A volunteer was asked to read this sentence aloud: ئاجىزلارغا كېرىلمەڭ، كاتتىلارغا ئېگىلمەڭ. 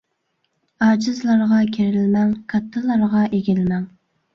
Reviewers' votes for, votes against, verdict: 2, 0, accepted